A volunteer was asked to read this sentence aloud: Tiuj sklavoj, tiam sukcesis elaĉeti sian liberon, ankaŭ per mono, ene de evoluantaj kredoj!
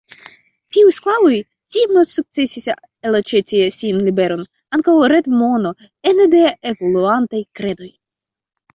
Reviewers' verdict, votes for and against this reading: rejected, 0, 2